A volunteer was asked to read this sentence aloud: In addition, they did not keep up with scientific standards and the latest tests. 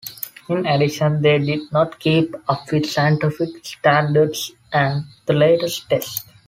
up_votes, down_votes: 2, 1